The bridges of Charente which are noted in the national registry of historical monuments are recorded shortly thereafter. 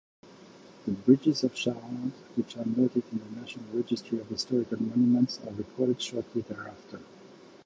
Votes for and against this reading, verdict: 0, 2, rejected